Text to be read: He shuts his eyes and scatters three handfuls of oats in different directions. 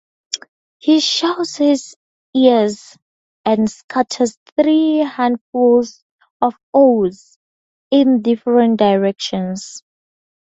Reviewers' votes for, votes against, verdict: 0, 2, rejected